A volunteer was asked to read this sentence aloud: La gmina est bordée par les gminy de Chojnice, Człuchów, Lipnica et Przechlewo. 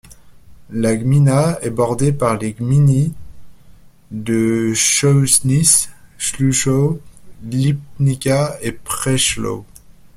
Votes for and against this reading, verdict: 1, 2, rejected